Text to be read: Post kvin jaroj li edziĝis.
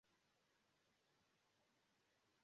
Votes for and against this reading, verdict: 0, 2, rejected